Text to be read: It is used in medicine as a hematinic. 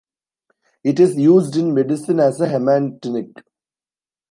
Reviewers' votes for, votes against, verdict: 1, 2, rejected